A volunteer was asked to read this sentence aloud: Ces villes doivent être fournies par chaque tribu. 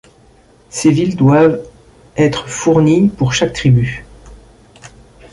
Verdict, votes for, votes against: rejected, 0, 2